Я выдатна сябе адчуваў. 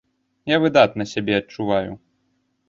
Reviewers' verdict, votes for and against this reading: rejected, 0, 2